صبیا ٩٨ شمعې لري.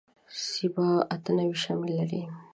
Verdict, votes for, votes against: rejected, 0, 2